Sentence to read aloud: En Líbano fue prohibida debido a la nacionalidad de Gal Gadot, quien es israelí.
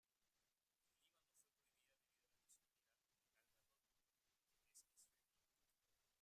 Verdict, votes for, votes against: rejected, 0, 2